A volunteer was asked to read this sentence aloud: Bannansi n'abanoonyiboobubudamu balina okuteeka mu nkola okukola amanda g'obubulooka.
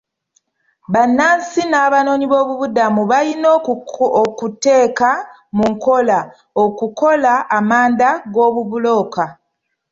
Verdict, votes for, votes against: rejected, 0, 2